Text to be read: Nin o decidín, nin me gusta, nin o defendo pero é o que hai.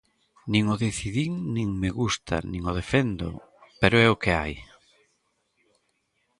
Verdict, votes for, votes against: accepted, 2, 0